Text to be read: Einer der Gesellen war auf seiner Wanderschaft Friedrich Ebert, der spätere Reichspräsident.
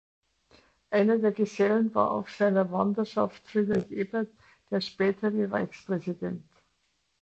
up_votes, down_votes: 2, 1